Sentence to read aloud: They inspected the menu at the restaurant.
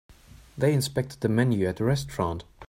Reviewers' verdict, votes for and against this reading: rejected, 1, 2